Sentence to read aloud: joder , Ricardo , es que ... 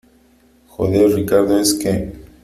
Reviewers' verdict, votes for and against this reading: accepted, 2, 0